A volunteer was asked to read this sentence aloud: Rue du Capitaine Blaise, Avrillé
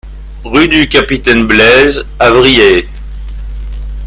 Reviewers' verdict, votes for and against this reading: rejected, 1, 2